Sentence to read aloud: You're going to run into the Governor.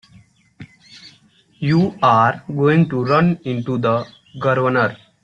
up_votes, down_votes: 0, 2